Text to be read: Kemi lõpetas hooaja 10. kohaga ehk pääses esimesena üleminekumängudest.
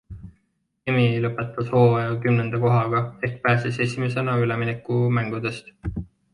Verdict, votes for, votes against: rejected, 0, 2